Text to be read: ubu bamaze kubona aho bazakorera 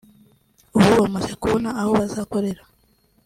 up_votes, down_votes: 2, 0